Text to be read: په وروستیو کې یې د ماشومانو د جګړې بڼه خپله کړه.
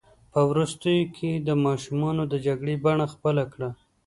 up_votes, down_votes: 2, 0